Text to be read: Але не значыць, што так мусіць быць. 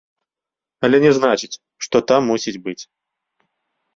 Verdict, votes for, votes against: rejected, 1, 2